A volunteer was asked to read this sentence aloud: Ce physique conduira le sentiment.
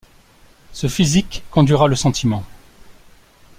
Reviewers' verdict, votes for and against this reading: accepted, 2, 0